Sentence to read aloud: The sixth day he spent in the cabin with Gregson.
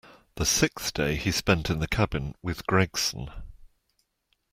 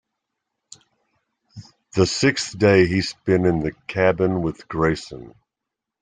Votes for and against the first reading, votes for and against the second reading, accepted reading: 2, 0, 1, 2, first